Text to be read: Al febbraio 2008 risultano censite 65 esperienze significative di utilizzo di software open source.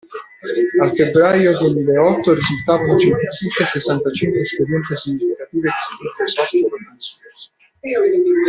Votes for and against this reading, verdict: 0, 2, rejected